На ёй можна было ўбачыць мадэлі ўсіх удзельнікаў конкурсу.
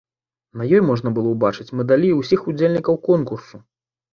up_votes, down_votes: 1, 2